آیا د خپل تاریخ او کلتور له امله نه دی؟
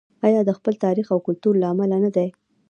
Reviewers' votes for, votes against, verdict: 2, 1, accepted